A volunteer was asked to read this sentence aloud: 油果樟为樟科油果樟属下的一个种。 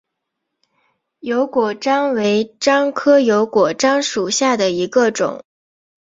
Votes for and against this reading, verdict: 2, 0, accepted